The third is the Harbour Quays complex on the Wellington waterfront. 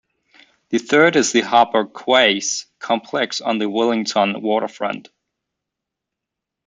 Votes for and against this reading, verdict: 0, 2, rejected